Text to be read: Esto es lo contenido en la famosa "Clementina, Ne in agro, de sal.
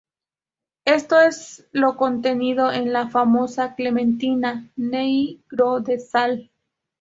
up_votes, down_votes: 0, 2